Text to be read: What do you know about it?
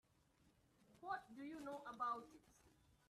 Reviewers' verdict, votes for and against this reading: rejected, 1, 2